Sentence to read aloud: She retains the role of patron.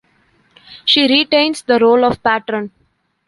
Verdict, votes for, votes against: accepted, 2, 0